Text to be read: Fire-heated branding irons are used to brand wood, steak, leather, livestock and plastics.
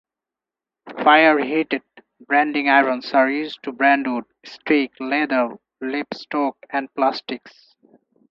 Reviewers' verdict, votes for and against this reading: rejected, 0, 4